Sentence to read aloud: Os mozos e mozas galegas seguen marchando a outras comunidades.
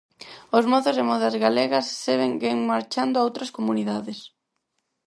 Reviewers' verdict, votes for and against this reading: rejected, 0, 4